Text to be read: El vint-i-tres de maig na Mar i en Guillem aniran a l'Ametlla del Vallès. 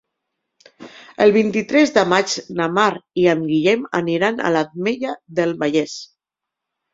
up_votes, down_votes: 2, 0